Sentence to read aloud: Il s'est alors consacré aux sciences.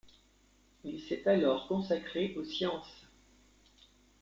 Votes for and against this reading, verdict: 2, 0, accepted